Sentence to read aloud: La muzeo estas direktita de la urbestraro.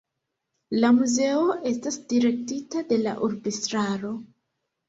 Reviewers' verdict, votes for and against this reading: accepted, 2, 0